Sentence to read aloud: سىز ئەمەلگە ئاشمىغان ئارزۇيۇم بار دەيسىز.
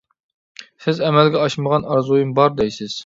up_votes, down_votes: 2, 0